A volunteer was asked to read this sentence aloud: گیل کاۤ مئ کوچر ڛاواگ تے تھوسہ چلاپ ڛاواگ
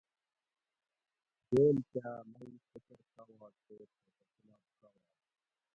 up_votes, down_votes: 0, 2